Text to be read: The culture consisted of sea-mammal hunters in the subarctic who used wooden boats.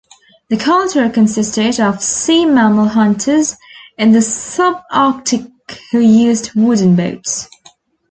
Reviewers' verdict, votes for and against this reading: accepted, 2, 0